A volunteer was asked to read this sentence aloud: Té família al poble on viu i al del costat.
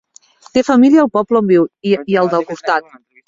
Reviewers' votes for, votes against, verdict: 1, 2, rejected